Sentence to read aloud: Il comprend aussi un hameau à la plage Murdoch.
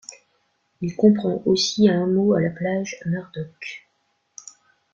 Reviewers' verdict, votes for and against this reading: accepted, 2, 0